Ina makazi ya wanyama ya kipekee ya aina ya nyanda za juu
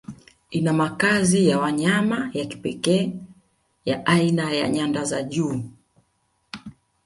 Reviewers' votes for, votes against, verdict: 2, 0, accepted